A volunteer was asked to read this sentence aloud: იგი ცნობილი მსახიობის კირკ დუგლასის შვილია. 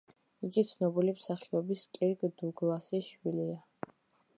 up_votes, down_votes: 2, 0